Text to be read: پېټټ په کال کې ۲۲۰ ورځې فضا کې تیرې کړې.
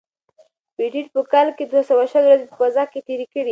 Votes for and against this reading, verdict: 0, 2, rejected